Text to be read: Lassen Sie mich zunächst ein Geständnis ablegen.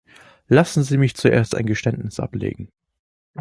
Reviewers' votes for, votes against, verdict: 1, 2, rejected